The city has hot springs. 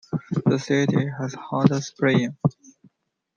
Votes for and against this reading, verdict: 2, 0, accepted